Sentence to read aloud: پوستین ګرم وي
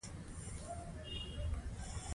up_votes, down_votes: 2, 1